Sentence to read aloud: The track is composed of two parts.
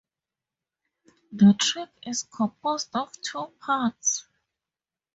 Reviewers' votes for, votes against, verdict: 2, 2, rejected